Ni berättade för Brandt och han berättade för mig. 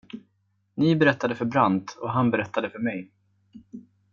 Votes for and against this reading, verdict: 2, 0, accepted